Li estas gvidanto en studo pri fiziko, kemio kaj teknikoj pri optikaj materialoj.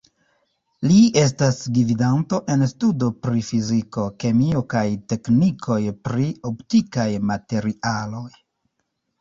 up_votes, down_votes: 0, 2